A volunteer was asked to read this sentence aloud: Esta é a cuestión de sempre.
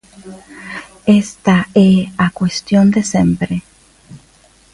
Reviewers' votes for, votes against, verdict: 2, 1, accepted